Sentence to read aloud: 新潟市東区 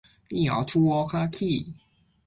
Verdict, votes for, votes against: rejected, 0, 2